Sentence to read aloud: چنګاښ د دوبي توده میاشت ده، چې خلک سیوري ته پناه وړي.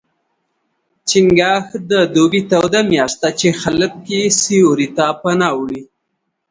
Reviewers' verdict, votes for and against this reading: accepted, 3, 0